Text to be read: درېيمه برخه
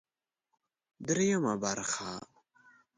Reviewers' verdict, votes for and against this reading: accepted, 2, 0